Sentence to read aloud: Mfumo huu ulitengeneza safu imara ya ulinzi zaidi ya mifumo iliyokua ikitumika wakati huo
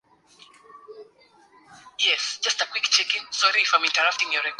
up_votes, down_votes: 0, 2